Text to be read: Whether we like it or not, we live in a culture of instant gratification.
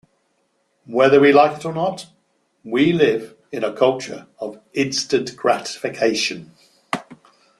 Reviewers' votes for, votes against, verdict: 2, 1, accepted